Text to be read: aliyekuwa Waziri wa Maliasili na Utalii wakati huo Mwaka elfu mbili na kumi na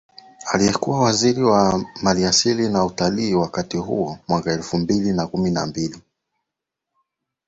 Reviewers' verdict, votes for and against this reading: accepted, 2, 1